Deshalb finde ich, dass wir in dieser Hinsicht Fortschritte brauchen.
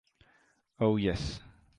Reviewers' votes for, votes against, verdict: 0, 2, rejected